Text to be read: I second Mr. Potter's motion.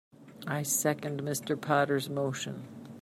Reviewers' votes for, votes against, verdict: 2, 0, accepted